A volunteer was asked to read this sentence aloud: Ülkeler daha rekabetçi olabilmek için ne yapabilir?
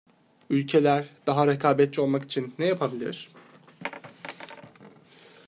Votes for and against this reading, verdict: 1, 2, rejected